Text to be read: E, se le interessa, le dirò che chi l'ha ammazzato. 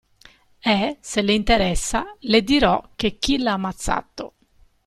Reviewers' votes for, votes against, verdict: 2, 0, accepted